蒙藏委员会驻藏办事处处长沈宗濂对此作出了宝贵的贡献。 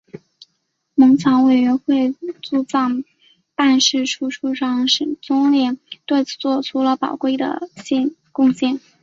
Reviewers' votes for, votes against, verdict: 2, 1, accepted